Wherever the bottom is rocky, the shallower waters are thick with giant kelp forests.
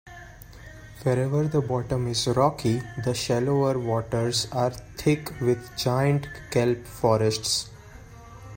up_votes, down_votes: 2, 0